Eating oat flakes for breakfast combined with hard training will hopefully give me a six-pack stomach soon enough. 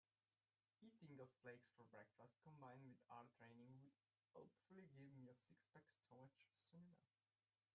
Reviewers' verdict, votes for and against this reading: rejected, 0, 2